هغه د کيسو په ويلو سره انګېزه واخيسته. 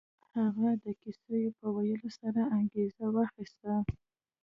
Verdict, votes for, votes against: rejected, 1, 2